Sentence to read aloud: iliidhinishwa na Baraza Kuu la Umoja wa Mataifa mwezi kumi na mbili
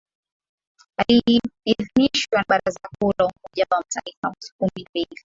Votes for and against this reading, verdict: 1, 2, rejected